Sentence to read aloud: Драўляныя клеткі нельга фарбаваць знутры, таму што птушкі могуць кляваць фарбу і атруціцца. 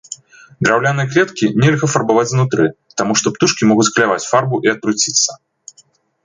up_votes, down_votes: 1, 2